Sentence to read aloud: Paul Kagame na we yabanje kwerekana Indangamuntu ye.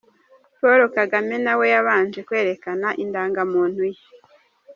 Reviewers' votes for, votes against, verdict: 2, 0, accepted